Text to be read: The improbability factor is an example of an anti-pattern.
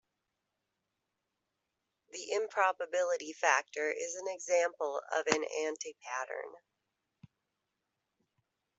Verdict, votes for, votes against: accepted, 2, 0